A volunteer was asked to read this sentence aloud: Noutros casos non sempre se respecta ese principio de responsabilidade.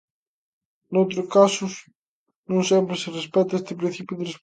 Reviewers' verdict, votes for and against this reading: rejected, 0, 2